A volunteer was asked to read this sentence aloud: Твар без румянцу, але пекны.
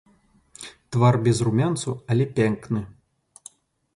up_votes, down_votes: 0, 2